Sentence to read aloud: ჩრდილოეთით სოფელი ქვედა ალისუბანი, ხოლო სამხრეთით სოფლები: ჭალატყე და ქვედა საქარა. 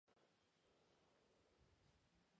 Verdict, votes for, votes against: rejected, 0, 2